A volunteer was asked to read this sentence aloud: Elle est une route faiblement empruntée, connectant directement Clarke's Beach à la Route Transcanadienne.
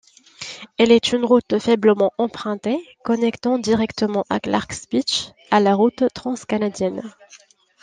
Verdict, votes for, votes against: rejected, 0, 2